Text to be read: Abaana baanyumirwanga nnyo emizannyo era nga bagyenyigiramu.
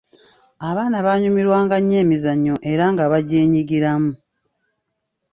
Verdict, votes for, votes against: accepted, 2, 0